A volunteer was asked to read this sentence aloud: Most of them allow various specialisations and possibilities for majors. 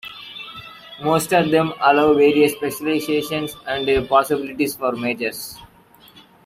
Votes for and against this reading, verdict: 1, 2, rejected